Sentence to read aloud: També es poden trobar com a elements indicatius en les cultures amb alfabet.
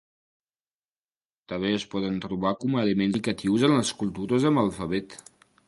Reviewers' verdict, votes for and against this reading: rejected, 1, 2